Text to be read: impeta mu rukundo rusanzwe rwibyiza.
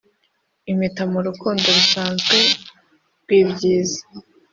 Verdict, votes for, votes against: accepted, 2, 0